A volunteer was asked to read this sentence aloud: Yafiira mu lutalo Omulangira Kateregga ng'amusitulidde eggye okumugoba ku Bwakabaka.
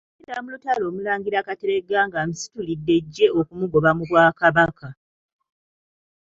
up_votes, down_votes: 2, 3